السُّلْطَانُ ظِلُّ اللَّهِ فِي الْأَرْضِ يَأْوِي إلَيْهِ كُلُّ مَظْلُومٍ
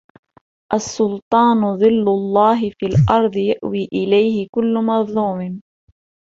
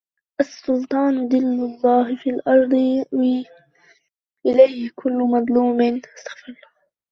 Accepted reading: first